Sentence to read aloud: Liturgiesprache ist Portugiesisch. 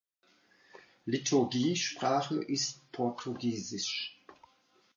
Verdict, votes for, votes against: accepted, 2, 0